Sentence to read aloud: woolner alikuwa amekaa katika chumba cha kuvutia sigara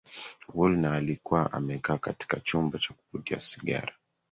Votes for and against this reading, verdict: 2, 1, accepted